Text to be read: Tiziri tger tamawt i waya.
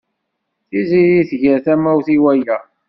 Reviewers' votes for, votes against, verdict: 0, 2, rejected